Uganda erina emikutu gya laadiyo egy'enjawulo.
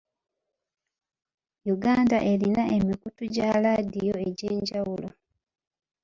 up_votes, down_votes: 2, 1